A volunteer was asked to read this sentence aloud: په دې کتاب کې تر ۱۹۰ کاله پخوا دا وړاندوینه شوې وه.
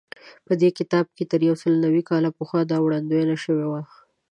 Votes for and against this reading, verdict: 0, 2, rejected